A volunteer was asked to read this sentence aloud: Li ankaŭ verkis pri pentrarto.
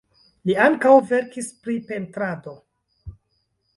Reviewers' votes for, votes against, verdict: 1, 2, rejected